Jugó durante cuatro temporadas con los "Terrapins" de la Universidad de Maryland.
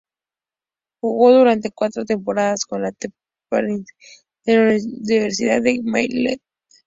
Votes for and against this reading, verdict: 0, 2, rejected